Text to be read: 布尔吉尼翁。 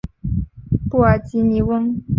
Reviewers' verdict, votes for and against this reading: accepted, 2, 0